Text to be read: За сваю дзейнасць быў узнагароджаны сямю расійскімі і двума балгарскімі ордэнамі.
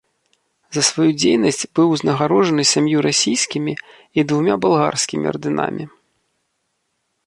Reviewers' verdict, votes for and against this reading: rejected, 1, 2